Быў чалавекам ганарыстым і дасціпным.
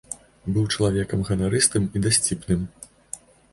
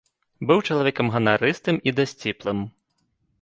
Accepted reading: first